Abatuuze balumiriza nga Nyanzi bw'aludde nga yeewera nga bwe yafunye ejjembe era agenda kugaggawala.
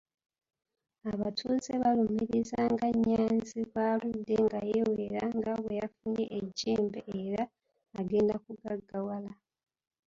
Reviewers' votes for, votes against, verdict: 0, 2, rejected